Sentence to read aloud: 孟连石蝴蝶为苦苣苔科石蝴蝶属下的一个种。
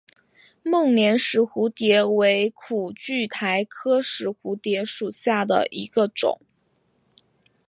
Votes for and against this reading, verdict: 2, 0, accepted